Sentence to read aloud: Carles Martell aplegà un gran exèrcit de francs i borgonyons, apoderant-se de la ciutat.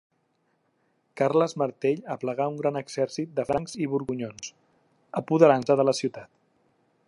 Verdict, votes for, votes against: accepted, 2, 0